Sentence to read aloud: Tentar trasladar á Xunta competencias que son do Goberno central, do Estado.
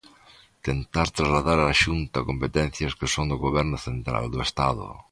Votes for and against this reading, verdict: 2, 0, accepted